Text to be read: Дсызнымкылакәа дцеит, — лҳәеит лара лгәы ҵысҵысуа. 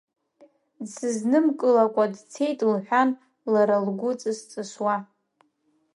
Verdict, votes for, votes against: rejected, 1, 2